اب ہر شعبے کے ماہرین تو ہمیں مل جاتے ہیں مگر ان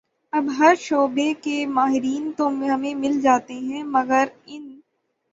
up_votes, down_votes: 3, 6